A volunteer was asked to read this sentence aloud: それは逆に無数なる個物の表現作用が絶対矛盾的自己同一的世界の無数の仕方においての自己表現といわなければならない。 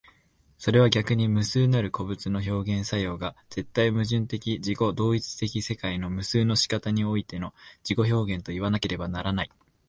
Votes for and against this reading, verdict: 2, 0, accepted